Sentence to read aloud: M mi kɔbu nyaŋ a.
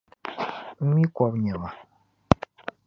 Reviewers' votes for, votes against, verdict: 0, 2, rejected